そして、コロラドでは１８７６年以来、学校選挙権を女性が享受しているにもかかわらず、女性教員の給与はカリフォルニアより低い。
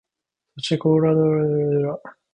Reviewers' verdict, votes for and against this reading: rejected, 0, 2